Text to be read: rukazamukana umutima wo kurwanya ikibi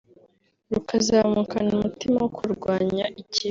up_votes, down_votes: 3, 0